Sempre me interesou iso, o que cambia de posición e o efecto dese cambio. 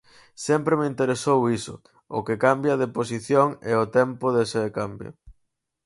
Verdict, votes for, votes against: rejected, 0, 4